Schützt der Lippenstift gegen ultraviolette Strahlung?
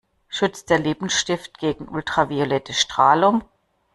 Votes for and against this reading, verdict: 2, 0, accepted